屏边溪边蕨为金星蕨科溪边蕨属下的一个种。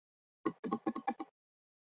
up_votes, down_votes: 0, 2